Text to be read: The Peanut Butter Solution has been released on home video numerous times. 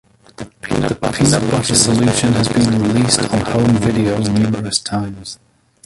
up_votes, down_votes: 0, 2